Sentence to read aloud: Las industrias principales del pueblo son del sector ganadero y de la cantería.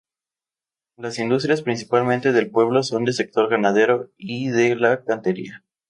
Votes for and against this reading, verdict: 0, 2, rejected